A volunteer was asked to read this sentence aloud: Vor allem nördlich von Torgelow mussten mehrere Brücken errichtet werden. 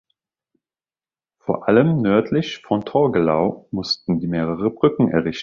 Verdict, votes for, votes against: rejected, 1, 2